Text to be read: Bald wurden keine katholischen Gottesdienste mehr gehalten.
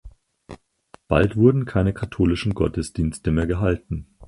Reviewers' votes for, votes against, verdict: 4, 0, accepted